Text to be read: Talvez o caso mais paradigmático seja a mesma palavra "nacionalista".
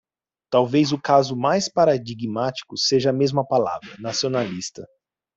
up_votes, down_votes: 2, 0